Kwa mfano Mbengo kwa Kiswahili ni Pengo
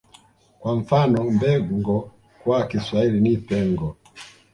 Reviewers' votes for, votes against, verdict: 2, 0, accepted